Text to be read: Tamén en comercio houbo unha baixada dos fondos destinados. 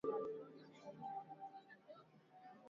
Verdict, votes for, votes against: rejected, 0, 2